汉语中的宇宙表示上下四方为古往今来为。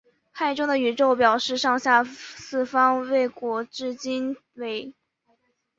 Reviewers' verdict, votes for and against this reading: rejected, 0, 5